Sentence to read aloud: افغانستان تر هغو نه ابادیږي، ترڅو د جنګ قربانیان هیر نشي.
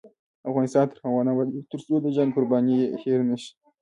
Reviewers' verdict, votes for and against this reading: accepted, 2, 0